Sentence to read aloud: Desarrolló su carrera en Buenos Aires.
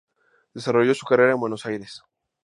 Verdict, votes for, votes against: accepted, 2, 0